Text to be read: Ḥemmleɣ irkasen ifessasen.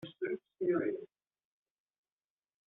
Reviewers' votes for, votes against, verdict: 0, 2, rejected